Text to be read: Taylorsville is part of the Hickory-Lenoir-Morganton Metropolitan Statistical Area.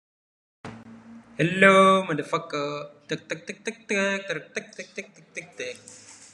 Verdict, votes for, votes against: rejected, 0, 2